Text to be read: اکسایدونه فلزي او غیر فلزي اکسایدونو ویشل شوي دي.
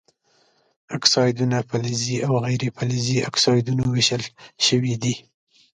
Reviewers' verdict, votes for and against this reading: accepted, 2, 0